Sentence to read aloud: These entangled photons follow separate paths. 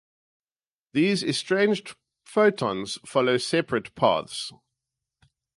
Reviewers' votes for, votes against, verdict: 0, 2, rejected